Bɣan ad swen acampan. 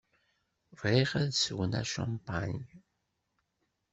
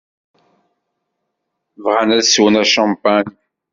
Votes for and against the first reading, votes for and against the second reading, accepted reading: 0, 2, 2, 0, second